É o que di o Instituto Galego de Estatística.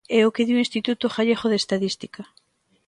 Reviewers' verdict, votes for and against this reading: rejected, 0, 2